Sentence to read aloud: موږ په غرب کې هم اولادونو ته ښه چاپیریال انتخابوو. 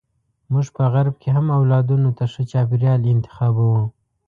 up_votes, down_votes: 2, 0